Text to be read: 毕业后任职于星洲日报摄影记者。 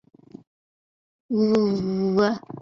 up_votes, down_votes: 2, 3